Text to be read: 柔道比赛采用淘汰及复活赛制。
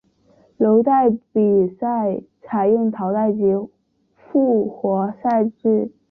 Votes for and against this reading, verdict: 2, 1, accepted